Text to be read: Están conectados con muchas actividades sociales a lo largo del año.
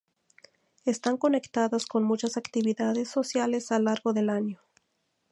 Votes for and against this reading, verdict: 0, 2, rejected